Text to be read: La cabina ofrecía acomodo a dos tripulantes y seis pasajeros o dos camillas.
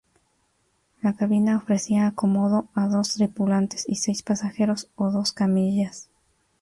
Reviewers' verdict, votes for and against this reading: accepted, 4, 0